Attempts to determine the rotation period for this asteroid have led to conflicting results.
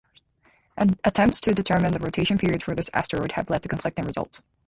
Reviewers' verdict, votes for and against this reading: rejected, 0, 4